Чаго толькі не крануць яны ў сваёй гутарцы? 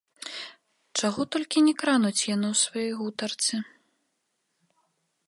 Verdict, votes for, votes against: rejected, 0, 2